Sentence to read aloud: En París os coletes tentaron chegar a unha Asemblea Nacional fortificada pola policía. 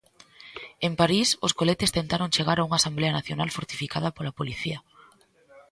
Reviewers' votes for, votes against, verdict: 2, 1, accepted